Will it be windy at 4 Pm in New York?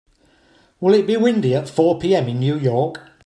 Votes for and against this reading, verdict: 0, 2, rejected